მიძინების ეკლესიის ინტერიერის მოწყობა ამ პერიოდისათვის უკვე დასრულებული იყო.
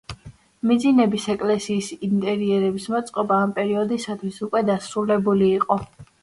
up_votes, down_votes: 1, 2